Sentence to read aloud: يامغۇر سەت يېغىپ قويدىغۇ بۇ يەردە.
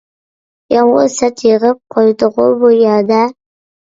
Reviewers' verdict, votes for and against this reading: accepted, 2, 0